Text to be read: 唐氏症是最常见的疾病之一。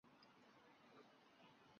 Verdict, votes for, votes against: rejected, 0, 4